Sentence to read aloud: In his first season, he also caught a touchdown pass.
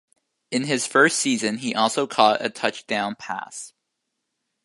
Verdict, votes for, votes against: accepted, 2, 0